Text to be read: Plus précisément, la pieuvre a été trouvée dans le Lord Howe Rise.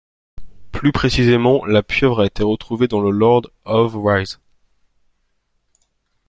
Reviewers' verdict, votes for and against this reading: rejected, 1, 2